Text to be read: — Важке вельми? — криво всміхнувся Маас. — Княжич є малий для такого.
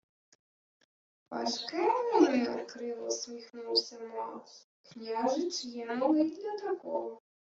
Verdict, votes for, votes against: rejected, 0, 2